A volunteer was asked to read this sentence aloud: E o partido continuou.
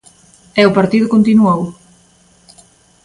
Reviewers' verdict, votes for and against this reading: accepted, 2, 0